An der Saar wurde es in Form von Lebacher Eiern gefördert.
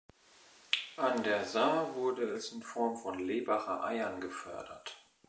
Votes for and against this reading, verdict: 2, 0, accepted